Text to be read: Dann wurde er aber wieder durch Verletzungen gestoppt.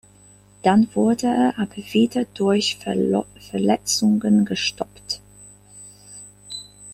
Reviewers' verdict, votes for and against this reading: accepted, 2, 1